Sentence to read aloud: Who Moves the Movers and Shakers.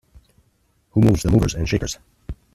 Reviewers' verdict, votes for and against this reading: accepted, 2, 1